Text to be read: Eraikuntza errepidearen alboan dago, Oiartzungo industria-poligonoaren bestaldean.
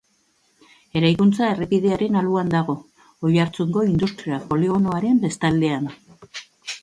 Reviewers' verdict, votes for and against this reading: rejected, 1, 2